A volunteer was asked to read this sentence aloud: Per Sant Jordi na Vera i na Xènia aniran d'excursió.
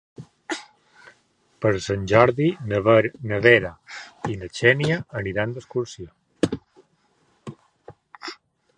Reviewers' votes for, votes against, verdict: 0, 2, rejected